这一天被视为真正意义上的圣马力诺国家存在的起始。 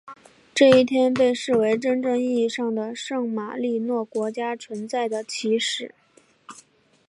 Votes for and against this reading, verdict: 4, 0, accepted